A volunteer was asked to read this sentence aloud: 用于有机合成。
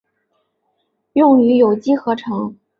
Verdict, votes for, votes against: accepted, 2, 0